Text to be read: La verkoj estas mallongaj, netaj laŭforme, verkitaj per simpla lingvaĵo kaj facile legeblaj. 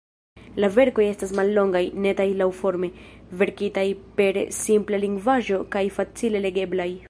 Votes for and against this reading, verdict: 1, 2, rejected